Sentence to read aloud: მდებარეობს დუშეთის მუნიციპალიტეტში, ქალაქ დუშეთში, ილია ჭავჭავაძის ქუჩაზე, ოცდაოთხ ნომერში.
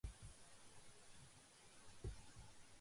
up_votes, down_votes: 0, 2